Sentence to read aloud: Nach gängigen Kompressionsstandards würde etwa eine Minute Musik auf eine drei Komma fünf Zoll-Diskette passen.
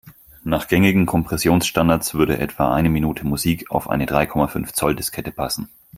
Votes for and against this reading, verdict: 4, 0, accepted